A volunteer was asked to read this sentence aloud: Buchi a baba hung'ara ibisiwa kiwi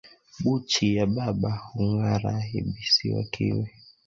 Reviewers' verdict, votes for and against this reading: rejected, 0, 2